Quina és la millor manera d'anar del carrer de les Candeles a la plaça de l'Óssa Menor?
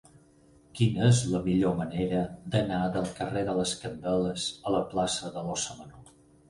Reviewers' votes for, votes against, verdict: 10, 2, accepted